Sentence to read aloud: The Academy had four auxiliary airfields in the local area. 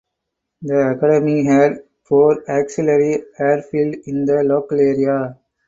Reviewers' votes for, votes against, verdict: 0, 4, rejected